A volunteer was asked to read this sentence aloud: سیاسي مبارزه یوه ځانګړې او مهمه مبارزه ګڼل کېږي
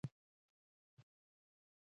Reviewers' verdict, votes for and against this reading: rejected, 1, 2